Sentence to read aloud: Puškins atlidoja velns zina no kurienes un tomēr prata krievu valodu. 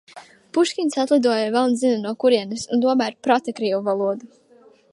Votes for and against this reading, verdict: 2, 0, accepted